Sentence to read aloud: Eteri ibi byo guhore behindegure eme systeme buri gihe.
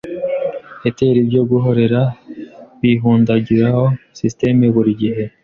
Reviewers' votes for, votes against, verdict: 0, 2, rejected